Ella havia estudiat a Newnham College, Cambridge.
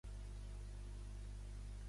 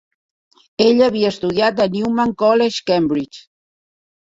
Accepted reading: second